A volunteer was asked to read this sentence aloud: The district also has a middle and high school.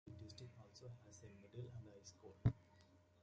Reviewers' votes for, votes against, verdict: 1, 2, rejected